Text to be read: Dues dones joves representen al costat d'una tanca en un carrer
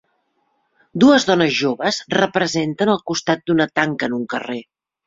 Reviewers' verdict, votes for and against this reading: accepted, 3, 0